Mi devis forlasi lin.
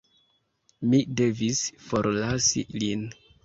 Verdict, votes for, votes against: accepted, 2, 0